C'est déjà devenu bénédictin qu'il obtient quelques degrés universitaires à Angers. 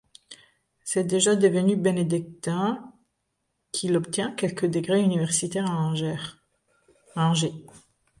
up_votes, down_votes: 0, 2